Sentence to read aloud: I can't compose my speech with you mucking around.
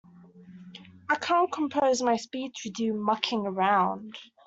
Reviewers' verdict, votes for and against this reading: accepted, 2, 0